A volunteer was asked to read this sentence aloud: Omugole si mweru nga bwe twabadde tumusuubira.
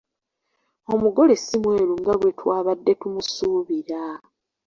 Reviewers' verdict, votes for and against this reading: accepted, 2, 0